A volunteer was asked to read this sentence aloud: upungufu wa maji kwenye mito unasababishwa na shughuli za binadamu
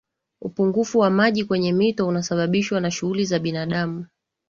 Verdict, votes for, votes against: accepted, 2, 0